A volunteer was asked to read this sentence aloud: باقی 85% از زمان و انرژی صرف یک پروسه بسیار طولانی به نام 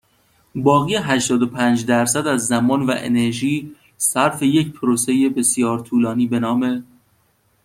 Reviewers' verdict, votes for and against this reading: rejected, 0, 2